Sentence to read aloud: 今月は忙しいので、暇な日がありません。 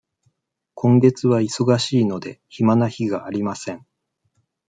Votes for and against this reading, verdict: 2, 0, accepted